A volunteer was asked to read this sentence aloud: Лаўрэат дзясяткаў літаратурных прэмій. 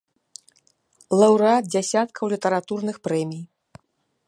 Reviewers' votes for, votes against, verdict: 2, 0, accepted